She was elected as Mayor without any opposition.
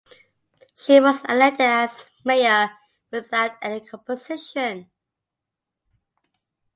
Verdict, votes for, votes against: accepted, 2, 0